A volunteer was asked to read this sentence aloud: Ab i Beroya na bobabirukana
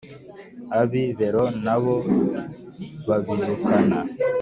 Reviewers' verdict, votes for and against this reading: rejected, 2, 3